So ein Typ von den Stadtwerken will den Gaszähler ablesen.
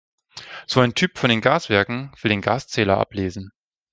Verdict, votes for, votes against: rejected, 0, 2